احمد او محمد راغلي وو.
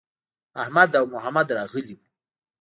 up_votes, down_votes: 1, 2